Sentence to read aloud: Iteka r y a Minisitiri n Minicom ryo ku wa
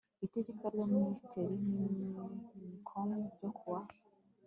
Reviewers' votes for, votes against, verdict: 2, 0, accepted